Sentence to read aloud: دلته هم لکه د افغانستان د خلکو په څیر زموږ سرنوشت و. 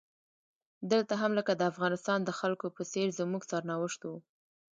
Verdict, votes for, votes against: rejected, 1, 2